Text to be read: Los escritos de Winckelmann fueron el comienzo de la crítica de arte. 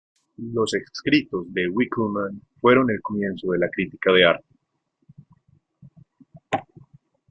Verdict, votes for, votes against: rejected, 1, 2